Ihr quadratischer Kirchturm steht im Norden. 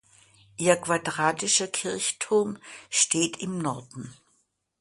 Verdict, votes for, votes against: accepted, 2, 0